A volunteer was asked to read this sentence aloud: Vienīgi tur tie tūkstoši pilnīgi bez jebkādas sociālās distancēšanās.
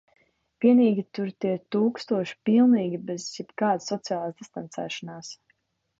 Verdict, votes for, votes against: rejected, 1, 2